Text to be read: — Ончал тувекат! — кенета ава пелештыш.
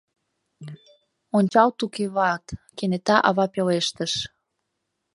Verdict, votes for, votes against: rejected, 1, 2